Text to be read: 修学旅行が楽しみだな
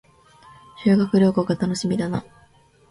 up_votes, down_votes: 2, 0